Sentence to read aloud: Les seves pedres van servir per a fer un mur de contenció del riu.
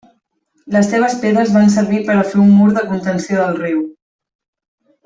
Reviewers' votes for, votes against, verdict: 3, 0, accepted